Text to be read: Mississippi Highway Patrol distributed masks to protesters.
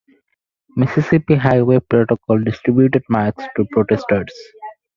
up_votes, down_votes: 2, 4